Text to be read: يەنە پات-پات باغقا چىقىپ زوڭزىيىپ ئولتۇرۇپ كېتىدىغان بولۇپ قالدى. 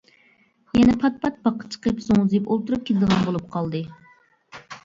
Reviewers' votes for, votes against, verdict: 2, 1, accepted